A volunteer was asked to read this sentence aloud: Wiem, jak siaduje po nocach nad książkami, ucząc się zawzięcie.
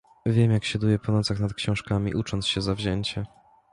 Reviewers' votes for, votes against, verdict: 2, 0, accepted